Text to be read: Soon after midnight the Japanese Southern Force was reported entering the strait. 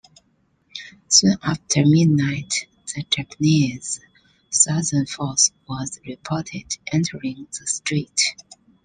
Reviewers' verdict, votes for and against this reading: rejected, 0, 2